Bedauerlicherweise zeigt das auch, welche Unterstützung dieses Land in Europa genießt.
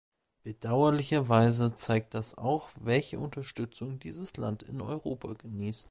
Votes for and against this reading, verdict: 2, 1, accepted